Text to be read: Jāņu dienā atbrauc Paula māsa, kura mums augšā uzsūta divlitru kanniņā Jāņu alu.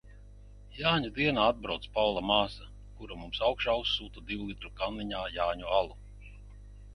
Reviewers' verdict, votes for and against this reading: accepted, 2, 0